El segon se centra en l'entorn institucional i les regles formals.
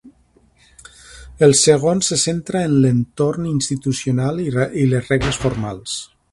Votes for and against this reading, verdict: 0, 2, rejected